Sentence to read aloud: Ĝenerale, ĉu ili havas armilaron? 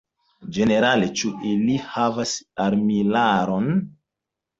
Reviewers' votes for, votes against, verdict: 2, 0, accepted